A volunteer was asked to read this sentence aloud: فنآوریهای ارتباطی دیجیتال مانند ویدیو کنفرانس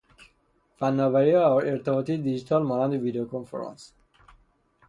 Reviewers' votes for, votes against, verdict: 0, 3, rejected